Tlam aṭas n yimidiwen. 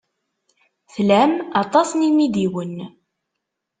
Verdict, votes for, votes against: accepted, 2, 0